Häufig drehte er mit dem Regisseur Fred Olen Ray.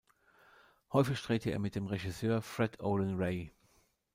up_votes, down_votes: 2, 0